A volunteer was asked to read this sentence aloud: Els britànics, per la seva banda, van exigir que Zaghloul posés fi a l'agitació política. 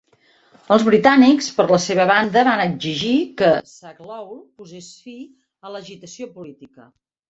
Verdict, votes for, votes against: accepted, 2, 1